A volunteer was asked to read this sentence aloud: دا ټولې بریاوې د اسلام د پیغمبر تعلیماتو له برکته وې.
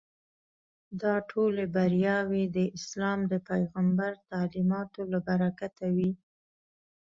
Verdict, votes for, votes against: accepted, 2, 0